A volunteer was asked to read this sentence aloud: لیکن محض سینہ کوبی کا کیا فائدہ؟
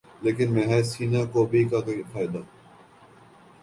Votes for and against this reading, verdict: 2, 0, accepted